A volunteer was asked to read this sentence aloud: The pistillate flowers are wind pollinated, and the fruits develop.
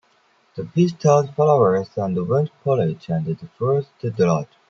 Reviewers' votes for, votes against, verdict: 0, 2, rejected